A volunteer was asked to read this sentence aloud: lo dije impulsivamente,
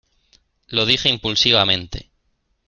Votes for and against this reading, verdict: 2, 0, accepted